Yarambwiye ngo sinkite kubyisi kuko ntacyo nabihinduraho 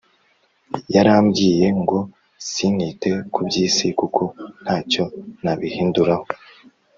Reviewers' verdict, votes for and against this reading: accepted, 3, 0